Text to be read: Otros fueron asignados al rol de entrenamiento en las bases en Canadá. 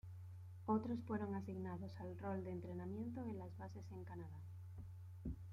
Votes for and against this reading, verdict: 1, 2, rejected